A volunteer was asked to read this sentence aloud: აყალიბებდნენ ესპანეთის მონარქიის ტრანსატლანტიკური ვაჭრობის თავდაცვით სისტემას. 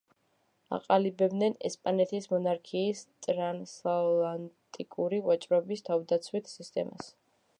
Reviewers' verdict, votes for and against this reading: rejected, 0, 2